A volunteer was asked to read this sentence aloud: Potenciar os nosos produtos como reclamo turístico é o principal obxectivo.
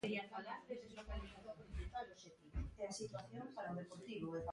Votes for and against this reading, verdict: 0, 2, rejected